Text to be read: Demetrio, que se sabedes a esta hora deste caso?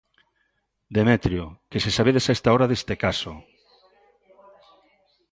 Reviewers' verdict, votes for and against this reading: accepted, 2, 0